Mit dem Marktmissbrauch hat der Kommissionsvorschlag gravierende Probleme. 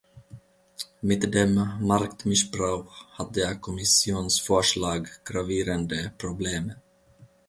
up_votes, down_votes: 2, 1